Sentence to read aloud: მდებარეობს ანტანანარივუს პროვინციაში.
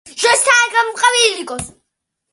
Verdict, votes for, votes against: rejected, 0, 3